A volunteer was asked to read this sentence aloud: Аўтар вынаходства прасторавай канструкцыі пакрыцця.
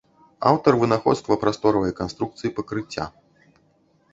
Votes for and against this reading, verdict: 2, 0, accepted